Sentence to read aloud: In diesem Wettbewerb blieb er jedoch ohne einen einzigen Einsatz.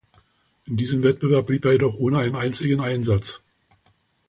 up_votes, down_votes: 2, 0